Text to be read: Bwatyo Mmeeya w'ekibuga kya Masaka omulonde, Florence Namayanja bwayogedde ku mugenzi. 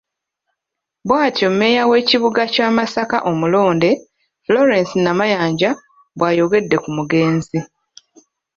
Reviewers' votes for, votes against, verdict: 2, 0, accepted